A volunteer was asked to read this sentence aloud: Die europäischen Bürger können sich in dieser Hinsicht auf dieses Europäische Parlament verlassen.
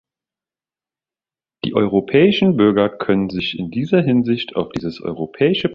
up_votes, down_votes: 0, 3